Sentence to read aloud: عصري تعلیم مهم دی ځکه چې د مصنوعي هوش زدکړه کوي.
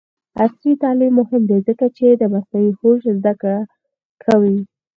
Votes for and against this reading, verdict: 0, 4, rejected